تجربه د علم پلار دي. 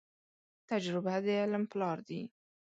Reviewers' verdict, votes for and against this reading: accepted, 2, 0